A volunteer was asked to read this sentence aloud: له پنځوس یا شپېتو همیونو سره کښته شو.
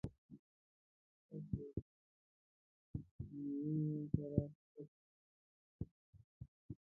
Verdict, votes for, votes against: rejected, 0, 2